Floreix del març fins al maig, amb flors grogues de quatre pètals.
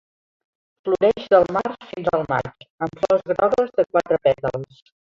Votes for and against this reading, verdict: 0, 2, rejected